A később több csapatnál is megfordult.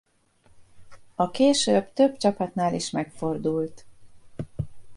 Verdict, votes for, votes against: accepted, 2, 0